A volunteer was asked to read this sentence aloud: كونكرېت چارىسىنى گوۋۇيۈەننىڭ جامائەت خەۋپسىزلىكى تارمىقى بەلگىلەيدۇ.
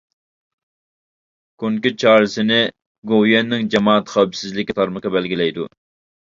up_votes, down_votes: 0, 2